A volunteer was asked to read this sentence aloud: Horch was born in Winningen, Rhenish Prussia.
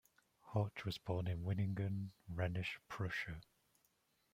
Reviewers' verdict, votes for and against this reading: accepted, 2, 1